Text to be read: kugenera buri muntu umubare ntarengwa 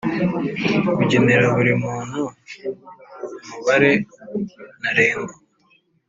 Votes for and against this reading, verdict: 2, 0, accepted